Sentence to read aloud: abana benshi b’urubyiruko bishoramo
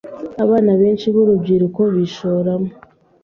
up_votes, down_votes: 3, 0